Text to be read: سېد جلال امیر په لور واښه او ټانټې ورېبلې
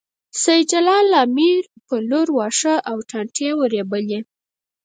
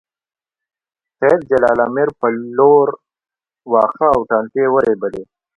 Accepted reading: second